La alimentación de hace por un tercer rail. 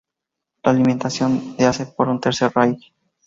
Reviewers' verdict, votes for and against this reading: accepted, 2, 0